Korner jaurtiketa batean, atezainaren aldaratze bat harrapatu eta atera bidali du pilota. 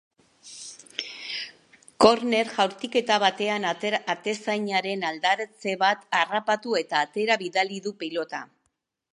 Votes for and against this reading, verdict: 0, 3, rejected